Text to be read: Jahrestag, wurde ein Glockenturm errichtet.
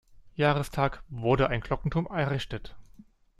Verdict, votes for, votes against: accepted, 2, 1